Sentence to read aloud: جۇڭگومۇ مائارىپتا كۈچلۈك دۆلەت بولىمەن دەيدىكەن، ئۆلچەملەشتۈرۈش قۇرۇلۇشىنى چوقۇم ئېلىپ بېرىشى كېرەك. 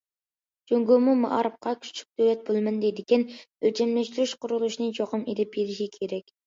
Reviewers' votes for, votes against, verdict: 3, 2, accepted